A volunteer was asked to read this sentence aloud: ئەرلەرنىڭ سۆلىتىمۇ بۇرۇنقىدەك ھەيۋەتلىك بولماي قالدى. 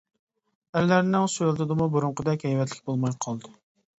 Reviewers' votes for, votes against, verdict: 2, 1, accepted